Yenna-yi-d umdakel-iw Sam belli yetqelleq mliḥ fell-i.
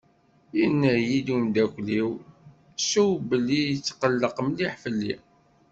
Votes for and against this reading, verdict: 1, 2, rejected